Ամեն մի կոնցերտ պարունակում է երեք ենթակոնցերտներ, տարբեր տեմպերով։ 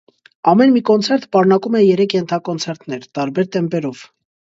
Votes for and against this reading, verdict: 2, 0, accepted